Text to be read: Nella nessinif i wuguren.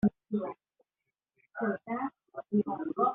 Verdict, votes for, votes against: rejected, 0, 2